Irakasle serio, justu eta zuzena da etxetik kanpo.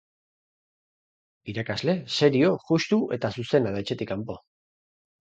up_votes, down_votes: 4, 0